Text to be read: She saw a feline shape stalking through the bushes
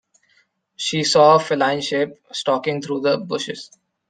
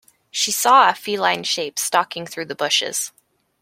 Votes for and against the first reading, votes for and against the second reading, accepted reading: 1, 2, 2, 0, second